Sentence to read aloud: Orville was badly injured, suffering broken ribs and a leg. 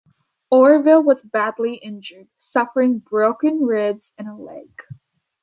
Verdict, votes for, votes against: accepted, 2, 0